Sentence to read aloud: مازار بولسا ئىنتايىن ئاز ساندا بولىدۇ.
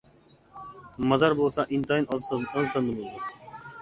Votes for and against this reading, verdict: 0, 2, rejected